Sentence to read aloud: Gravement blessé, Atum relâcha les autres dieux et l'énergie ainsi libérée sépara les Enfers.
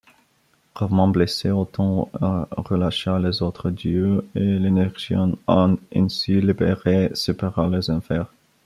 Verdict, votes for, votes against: rejected, 0, 2